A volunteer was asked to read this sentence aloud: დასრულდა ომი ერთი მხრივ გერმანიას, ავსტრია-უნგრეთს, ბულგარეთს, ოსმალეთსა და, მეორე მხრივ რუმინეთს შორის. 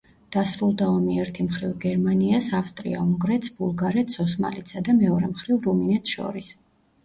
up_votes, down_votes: 2, 0